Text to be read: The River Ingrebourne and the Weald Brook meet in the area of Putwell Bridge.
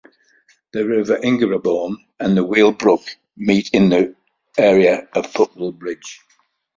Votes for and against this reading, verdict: 2, 0, accepted